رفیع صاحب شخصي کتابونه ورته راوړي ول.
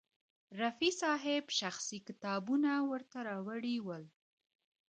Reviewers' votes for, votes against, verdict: 0, 2, rejected